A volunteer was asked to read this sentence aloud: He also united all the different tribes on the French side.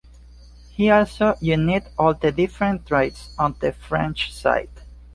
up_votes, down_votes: 0, 2